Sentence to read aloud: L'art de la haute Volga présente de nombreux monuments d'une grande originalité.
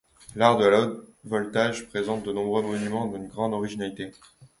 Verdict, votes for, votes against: rejected, 1, 2